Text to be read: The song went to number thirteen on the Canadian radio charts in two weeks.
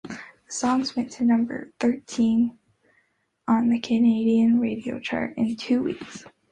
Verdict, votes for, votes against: accepted, 2, 0